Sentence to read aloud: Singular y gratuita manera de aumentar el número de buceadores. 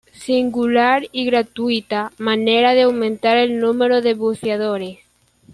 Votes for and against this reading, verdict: 2, 1, accepted